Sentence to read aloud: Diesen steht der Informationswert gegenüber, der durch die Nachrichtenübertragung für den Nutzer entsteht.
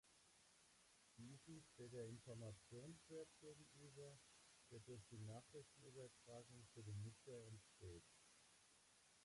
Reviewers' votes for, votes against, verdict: 0, 2, rejected